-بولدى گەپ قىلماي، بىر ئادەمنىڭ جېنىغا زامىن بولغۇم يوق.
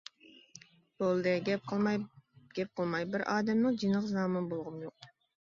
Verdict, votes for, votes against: rejected, 0, 2